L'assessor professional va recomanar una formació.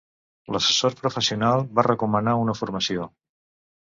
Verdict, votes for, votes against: accepted, 2, 0